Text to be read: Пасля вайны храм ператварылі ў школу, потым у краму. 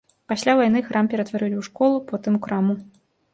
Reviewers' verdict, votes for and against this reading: accepted, 2, 0